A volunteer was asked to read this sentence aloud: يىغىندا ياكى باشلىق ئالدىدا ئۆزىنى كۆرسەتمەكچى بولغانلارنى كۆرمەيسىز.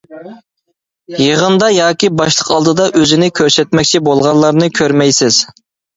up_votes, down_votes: 2, 0